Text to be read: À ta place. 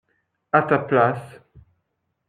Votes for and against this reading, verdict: 2, 0, accepted